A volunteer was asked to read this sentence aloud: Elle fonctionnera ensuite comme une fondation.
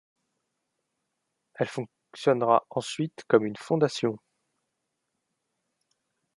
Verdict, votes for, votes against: rejected, 0, 2